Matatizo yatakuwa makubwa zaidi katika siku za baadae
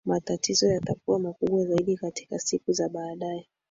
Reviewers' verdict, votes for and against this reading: accepted, 3, 1